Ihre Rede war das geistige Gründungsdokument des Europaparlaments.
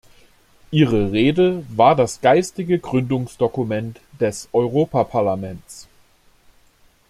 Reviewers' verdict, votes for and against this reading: accepted, 2, 0